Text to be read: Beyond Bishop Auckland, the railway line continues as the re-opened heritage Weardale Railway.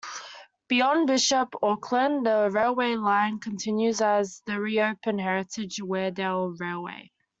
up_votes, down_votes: 2, 0